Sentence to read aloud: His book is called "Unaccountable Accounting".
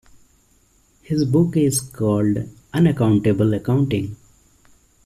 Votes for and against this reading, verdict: 2, 0, accepted